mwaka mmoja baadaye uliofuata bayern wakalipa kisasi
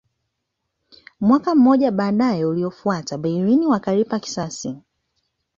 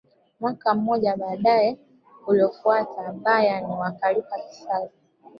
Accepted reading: first